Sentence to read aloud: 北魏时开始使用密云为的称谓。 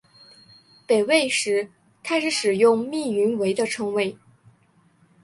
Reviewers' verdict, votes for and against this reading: accepted, 2, 0